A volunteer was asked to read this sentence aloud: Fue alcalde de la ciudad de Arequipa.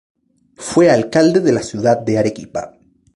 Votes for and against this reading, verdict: 0, 2, rejected